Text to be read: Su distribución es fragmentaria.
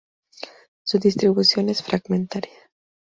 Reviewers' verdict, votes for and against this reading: rejected, 2, 2